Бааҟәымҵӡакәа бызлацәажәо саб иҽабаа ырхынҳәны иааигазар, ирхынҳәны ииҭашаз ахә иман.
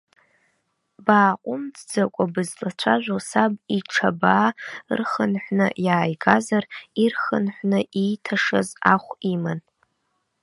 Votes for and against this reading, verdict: 1, 2, rejected